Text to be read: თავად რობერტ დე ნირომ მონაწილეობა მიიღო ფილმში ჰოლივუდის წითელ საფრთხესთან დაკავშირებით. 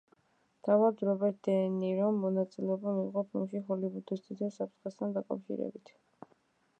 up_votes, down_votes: 1, 2